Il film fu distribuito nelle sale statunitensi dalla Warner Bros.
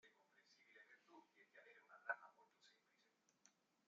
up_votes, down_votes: 0, 2